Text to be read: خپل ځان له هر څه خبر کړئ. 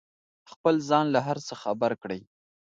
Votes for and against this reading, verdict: 2, 0, accepted